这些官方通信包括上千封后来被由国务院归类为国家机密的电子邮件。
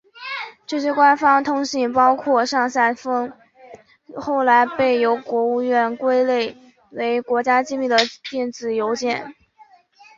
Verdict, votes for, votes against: accepted, 4, 3